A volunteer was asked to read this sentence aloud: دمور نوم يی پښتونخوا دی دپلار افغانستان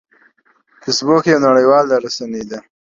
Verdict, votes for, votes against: rejected, 1, 2